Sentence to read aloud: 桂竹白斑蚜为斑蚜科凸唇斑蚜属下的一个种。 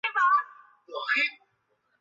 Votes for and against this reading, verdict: 0, 2, rejected